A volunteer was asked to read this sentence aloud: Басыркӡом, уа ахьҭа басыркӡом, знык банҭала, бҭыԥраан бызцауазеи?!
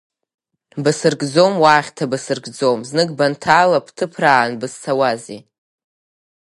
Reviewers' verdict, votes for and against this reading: accepted, 5, 2